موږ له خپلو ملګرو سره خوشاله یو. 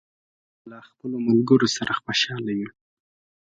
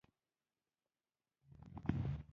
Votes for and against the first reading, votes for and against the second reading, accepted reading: 3, 0, 0, 2, first